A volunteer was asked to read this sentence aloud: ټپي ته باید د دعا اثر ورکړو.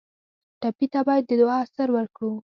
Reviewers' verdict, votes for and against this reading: accepted, 2, 0